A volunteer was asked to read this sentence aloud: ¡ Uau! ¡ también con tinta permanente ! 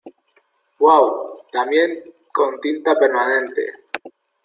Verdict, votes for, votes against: accepted, 2, 1